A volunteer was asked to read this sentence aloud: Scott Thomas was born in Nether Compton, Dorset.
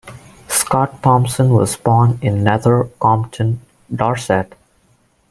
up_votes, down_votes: 2, 2